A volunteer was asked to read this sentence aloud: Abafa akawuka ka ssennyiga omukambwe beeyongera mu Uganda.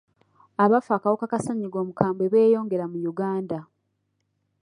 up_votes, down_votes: 2, 0